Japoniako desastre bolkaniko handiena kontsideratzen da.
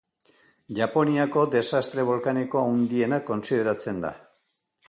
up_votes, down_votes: 0, 2